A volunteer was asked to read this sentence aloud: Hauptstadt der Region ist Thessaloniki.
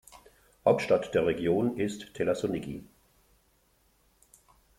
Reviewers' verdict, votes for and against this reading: rejected, 1, 2